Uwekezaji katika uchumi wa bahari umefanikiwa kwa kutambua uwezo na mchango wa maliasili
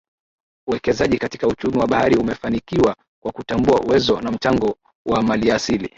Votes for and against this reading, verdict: 3, 4, rejected